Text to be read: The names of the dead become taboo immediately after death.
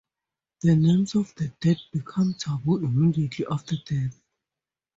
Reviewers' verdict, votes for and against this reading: accepted, 4, 2